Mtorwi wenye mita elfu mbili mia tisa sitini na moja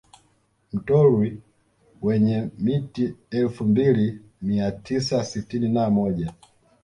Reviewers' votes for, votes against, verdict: 1, 2, rejected